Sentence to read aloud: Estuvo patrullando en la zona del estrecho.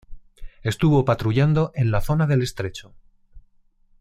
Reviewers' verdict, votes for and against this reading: accepted, 2, 0